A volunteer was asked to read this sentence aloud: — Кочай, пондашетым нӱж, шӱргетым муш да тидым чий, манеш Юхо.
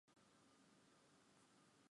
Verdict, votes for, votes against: rejected, 0, 2